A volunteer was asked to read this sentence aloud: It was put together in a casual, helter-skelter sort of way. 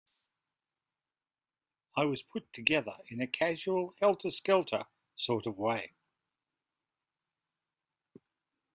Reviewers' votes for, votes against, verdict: 1, 2, rejected